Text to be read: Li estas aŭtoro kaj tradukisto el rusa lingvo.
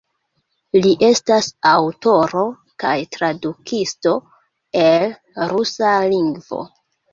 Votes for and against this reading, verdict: 2, 1, accepted